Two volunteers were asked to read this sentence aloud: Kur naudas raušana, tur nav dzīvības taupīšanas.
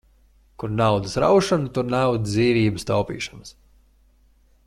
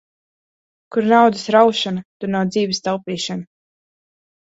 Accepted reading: first